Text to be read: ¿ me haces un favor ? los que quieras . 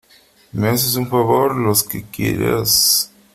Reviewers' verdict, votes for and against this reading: accepted, 2, 1